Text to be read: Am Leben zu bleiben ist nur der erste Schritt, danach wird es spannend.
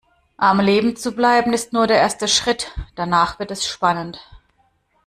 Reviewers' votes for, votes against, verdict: 2, 0, accepted